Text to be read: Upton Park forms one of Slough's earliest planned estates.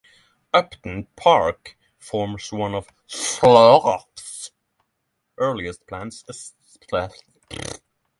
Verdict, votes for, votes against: rejected, 0, 6